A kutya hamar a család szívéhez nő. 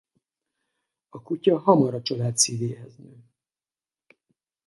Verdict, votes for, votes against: rejected, 0, 4